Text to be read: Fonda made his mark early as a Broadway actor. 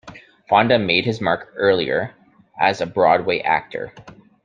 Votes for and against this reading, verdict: 0, 2, rejected